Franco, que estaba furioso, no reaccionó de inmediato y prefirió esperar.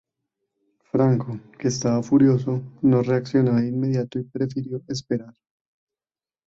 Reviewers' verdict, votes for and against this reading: rejected, 0, 2